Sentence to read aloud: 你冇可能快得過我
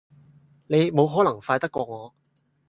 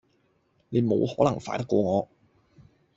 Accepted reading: second